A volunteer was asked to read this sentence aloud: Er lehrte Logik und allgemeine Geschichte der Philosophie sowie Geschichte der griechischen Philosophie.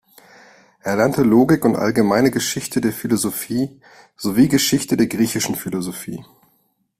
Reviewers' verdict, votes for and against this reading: rejected, 1, 2